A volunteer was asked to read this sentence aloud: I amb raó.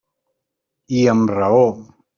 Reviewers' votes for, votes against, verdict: 3, 0, accepted